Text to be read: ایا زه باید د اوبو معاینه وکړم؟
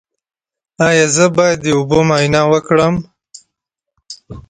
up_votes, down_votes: 3, 0